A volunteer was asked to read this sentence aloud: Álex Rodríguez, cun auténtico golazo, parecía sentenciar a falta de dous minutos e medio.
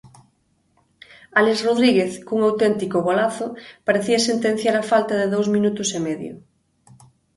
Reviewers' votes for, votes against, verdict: 2, 0, accepted